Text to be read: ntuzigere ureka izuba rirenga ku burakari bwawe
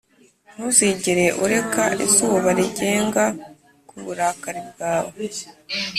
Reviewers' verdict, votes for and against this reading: rejected, 1, 2